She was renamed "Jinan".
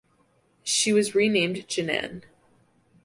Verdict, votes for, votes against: accepted, 2, 0